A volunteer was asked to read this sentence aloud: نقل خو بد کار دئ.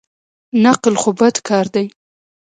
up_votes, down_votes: 1, 2